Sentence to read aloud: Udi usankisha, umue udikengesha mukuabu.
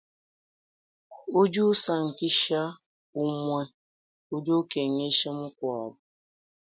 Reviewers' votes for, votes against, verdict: 2, 0, accepted